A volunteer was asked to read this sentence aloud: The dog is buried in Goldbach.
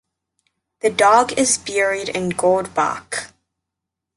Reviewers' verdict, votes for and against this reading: rejected, 1, 2